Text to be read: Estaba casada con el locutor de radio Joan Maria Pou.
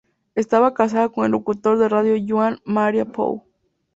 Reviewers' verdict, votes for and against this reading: accepted, 4, 0